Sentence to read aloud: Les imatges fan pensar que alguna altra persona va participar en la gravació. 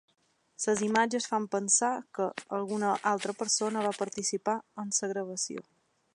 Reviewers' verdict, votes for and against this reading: accepted, 2, 1